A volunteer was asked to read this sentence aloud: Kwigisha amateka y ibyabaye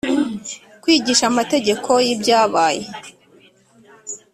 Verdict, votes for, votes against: rejected, 1, 2